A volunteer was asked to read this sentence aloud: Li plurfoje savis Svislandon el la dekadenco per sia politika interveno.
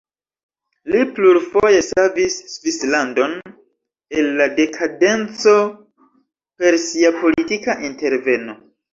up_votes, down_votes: 0, 2